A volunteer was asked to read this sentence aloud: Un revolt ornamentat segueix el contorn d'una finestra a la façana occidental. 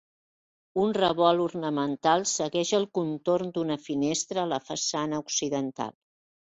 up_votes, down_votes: 1, 2